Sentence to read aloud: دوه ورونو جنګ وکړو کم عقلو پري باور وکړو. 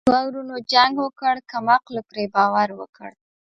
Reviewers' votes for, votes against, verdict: 1, 2, rejected